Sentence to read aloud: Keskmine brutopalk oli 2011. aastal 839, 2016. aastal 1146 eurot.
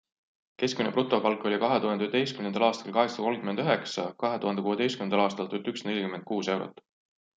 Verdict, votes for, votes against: rejected, 0, 2